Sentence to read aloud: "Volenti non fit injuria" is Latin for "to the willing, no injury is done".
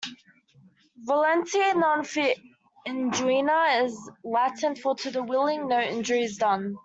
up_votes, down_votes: 1, 2